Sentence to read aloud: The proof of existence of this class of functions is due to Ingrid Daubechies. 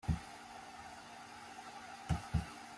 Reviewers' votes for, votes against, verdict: 0, 2, rejected